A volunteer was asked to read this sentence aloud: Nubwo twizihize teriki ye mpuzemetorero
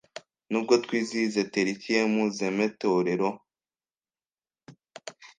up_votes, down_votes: 1, 2